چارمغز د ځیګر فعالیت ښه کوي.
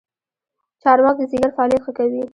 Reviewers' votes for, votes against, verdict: 1, 2, rejected